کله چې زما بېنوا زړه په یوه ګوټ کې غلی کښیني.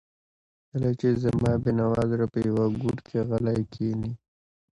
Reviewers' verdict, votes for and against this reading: accepted, 2, 0